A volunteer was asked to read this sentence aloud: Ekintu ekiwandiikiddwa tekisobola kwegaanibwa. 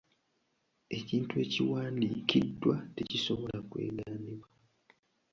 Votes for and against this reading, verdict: 1, 2, rejected